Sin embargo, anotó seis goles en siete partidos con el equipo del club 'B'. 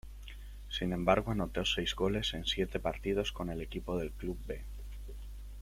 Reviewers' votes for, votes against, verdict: 2, 0, accepted